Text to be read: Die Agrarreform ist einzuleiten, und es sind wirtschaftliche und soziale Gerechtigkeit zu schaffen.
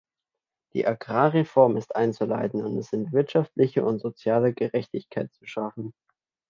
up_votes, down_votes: 2, 0